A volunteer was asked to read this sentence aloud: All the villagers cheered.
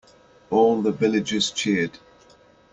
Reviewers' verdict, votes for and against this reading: accepted, 2, 0